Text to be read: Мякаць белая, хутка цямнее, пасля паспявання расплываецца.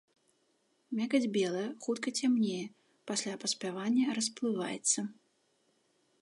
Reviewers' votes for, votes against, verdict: 2, 0, accepted